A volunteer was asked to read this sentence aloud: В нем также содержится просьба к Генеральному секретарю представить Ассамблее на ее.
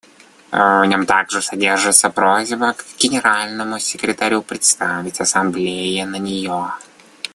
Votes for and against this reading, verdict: 2, 1, accepted